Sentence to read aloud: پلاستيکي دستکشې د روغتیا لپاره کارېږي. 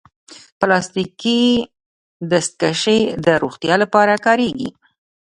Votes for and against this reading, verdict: 1, 2, rejected